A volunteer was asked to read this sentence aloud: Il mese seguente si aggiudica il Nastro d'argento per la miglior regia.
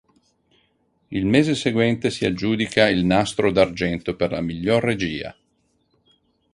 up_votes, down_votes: 4, 0